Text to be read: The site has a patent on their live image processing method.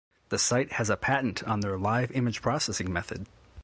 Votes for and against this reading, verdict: 1, 2, rejected